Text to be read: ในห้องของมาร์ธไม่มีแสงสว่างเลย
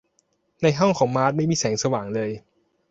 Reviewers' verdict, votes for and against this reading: accepted, 2, 0